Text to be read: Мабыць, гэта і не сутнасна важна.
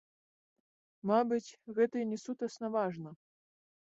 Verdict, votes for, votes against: accepted, 3, 2